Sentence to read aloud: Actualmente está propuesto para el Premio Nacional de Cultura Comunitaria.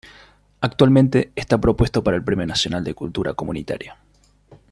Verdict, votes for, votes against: accepted, 2, 0